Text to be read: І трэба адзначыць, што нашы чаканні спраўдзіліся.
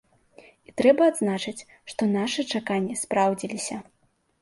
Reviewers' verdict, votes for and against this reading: accepted, 2, 0